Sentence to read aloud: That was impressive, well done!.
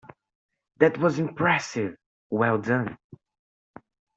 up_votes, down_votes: 2, 0